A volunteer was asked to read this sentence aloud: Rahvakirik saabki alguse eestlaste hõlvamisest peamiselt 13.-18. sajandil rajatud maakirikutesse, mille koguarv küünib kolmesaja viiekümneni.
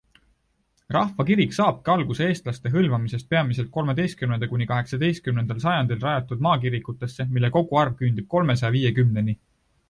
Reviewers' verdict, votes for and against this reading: rejected, 0, 2